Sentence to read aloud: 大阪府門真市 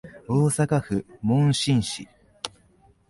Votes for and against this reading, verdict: 5, 0, accepted